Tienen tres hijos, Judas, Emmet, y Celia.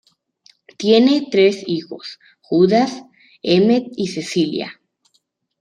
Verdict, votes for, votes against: rejected, 0, 2